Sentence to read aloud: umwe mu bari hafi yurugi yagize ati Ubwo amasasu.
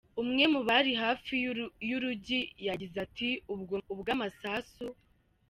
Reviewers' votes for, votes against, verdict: 0, 2, rejected